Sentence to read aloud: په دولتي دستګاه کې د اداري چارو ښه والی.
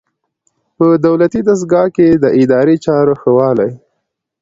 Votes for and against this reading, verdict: 2, 0, accepted